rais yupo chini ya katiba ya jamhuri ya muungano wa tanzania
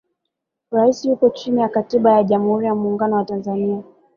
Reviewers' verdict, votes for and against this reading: accepted, 2, 0